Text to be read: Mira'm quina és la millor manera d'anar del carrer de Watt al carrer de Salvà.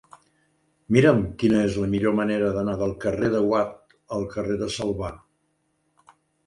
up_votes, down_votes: 2, 0